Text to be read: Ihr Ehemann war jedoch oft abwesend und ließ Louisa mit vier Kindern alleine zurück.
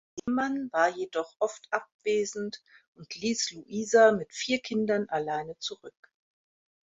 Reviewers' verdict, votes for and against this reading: rejected, 1, 2